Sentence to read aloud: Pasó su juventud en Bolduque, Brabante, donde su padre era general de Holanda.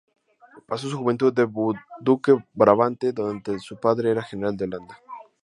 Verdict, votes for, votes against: accepted, 2, 0